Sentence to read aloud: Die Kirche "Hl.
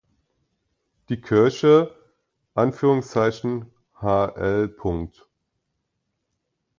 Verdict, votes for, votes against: rejected, 0, 2